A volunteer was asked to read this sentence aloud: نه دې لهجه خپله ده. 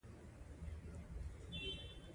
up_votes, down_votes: 1, 2